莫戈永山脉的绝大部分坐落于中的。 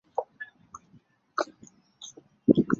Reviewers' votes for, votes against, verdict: 0, 5, rejected